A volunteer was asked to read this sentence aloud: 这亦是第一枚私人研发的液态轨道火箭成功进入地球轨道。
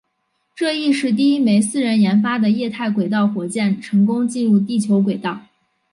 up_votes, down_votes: 2, 0